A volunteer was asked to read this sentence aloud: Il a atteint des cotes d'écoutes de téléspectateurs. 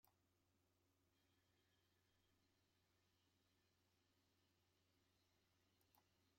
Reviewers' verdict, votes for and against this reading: rejected, 0, 2